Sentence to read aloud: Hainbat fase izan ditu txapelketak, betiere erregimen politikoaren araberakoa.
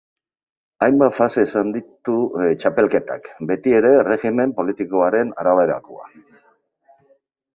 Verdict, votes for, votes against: rejected, 0, 4